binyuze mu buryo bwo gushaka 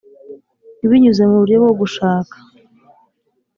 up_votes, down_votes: 3, 0